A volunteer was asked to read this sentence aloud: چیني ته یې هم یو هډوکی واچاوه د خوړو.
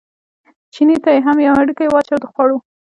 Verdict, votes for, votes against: rejected, 1, 2